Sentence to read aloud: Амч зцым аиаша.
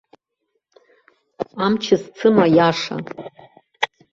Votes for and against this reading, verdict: 2, 0, accepted